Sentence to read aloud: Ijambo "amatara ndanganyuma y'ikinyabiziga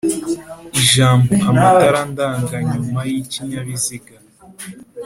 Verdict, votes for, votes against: accepted, 2, 0